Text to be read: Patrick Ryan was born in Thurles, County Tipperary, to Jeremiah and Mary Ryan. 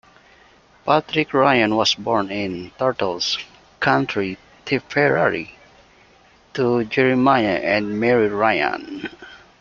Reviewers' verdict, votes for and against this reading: rejected, 0, 2